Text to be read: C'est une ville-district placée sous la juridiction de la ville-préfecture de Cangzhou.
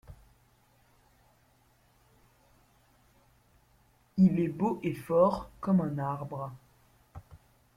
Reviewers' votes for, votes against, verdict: 0, 2, rejected